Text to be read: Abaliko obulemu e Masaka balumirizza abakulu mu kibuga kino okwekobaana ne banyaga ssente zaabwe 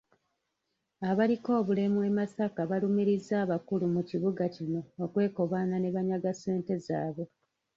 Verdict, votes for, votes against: rejected, 1, 2